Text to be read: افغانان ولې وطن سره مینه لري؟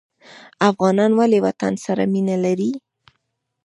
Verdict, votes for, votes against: rejected, 1, 2